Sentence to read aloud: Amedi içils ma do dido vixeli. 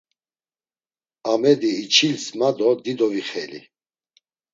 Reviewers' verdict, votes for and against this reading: accepted, 2, 0